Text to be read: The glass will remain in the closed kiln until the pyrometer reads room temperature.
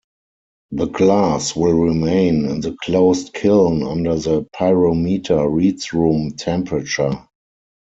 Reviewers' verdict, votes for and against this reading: rejected, 0, 4